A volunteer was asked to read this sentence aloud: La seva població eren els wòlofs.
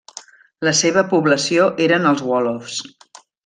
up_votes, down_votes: 0, 2